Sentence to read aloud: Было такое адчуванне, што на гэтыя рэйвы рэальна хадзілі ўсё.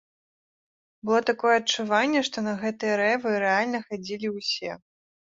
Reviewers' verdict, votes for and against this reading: accepted, 2, 0